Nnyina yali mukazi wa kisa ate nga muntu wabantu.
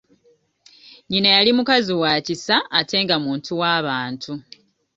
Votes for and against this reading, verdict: 2, 0, accepted